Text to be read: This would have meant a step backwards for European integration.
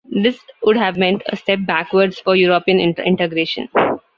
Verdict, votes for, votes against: rejected, 0, 2